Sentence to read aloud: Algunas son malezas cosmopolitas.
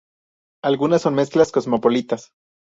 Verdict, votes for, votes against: rejected, 0, 2